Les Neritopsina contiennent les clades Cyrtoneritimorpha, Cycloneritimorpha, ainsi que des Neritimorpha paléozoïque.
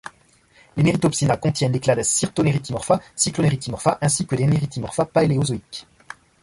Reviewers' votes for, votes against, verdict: 1, 2, rejected